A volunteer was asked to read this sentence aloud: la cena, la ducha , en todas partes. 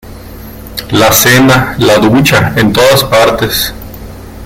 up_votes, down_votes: 2, 0